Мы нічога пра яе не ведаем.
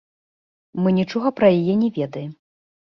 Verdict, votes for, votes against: accepted, 2, 1